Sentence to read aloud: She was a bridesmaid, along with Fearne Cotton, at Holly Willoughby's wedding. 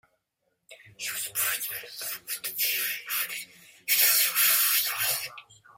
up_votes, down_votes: 0, 2